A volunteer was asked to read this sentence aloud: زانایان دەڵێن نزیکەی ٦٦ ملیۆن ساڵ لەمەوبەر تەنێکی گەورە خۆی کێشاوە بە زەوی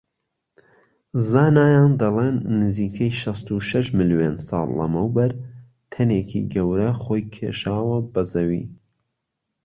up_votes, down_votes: 0, 2